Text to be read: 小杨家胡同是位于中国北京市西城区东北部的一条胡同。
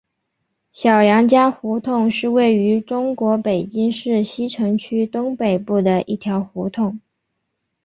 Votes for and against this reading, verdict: 2, 3, rejected